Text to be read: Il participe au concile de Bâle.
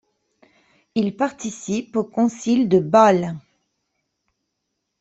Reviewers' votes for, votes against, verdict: 2, 0, accepted